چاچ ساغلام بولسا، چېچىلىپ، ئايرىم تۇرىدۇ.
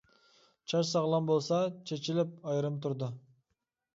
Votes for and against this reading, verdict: 2, 0, accepted